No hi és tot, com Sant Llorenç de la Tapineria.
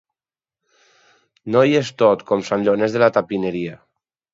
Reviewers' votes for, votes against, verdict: 2, 4, rejected